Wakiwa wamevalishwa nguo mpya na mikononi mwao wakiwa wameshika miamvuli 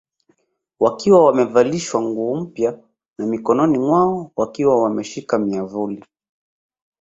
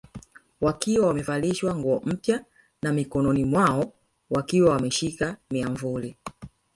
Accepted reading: first